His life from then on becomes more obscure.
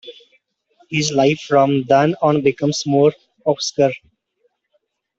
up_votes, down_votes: 0, 2